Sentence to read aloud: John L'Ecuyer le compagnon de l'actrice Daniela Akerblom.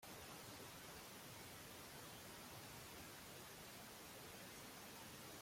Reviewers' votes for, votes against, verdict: 1, 2, rejected